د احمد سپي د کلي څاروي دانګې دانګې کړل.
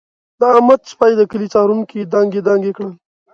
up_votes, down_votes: 1, 2